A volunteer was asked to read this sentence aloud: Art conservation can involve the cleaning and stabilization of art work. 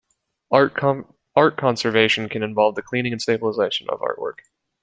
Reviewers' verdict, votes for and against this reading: rejected, 0, 2